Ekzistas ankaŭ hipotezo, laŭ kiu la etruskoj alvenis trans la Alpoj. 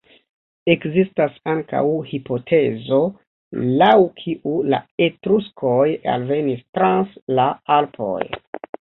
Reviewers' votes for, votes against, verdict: 2, 0, accepted